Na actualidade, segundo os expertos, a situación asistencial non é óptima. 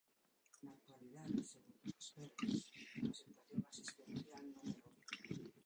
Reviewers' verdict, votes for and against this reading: rejected, 0, 2